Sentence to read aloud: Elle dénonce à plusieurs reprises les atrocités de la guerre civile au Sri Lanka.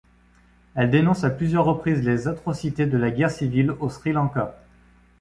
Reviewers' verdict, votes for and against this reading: accepted, 2, 0